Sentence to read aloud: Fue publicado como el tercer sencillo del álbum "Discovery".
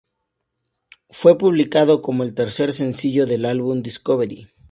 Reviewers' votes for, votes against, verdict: 2, 0, accepted